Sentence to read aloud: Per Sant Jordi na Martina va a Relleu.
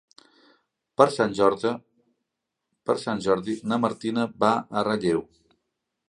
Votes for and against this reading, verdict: 1, 2, rejected